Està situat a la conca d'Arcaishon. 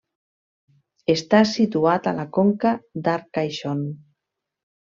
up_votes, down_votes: 2, 0